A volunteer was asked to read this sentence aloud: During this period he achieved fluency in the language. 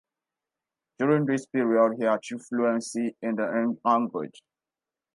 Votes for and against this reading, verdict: 0, 2, rejected